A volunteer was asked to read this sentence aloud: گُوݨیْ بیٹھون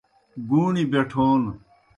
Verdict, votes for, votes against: accepted, 2, 0